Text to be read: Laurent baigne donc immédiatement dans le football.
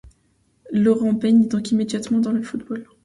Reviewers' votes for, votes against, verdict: 2, 1, accepted